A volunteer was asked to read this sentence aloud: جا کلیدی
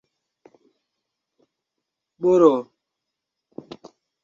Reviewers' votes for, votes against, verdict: 0, 2, rejected